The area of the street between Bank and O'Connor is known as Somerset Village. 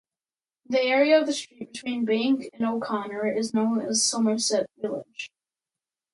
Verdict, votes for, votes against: rejected, 0, 2